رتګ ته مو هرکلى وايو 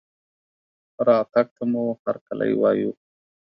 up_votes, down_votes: 2, 0